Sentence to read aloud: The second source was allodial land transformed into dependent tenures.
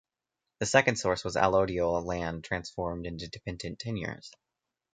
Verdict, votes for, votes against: rejected, 0, 2